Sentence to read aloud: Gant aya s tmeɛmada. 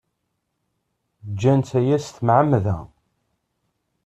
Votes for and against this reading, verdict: 0, 2, rejected